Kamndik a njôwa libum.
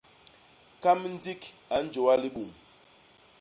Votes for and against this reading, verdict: 0, 2, rejected